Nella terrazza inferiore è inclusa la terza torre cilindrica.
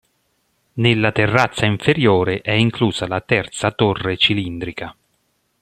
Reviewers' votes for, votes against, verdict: 2, 0, accepted